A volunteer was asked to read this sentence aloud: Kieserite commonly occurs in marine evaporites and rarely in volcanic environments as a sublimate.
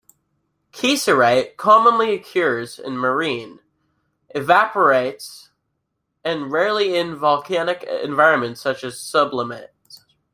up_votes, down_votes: 0, 2